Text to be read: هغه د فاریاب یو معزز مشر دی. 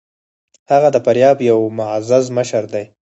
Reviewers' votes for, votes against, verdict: 2, 4, rejected